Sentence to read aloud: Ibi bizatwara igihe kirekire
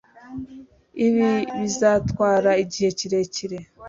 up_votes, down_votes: 2, 0